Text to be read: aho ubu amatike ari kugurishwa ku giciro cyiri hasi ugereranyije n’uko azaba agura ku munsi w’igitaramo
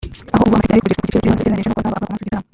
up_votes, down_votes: 0, 2